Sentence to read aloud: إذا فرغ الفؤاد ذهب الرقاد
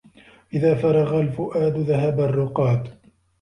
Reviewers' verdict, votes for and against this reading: accepted, 2, 0